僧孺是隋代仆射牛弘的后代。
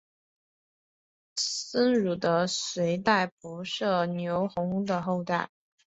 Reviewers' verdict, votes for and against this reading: accepted, 2, 0